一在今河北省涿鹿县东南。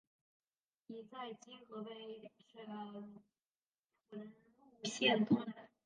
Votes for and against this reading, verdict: 0, 2, rejected